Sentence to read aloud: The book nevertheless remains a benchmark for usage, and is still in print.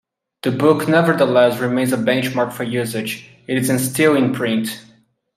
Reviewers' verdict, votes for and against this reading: rejected, 0, 2